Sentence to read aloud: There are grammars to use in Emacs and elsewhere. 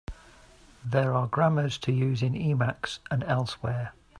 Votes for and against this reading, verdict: 2, 0, accepted